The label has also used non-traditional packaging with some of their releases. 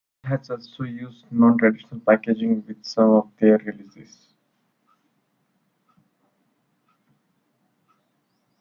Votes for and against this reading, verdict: 0, 2, rejected